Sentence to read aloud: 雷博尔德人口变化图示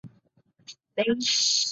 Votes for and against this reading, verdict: 0, 3, rejected